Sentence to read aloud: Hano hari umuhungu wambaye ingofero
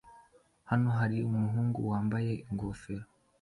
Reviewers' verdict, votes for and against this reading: accepted, 2, 0